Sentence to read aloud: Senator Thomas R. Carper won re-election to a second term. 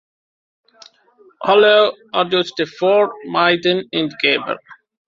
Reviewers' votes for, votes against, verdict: 0, 2, rejected